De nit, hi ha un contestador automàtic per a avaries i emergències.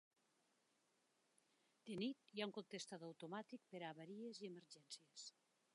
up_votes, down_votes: 1, 2